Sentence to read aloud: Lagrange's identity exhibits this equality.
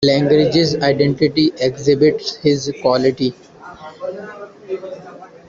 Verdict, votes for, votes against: rejected, 0, 2